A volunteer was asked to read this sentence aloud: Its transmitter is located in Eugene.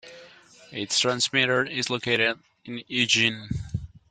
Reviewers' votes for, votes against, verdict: 2, 1, accepted